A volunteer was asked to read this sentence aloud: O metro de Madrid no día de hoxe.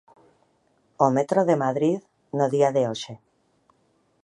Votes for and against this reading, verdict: 2, 0, accepted